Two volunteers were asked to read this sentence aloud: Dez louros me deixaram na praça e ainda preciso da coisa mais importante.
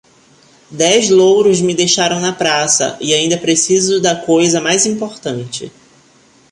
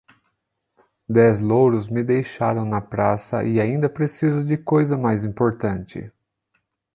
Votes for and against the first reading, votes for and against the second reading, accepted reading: 2, 0, 1, 2, first